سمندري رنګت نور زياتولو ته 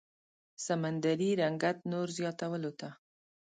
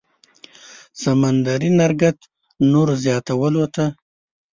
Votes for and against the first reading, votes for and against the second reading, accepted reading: 2, 0, 1, 2, first